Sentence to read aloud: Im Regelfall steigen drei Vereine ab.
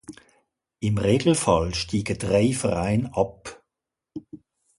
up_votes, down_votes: 2, 1